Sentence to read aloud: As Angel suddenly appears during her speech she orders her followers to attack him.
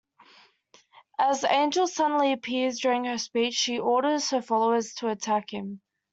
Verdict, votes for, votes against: accepted, 2, 0